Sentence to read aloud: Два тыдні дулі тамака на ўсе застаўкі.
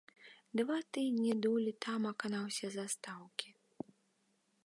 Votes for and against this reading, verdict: 2, 0, accepted